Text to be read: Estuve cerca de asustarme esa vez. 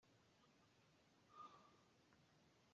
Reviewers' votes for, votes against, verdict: 0, 2, rejected